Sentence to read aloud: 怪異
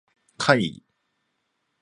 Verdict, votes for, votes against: accepted, 2, 0